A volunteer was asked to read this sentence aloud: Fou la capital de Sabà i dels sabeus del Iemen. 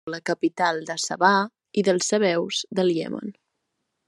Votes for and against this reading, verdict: 0, 2, rejected